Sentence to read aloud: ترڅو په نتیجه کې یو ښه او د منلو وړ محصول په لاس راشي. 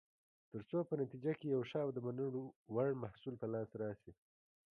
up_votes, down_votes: 1, 2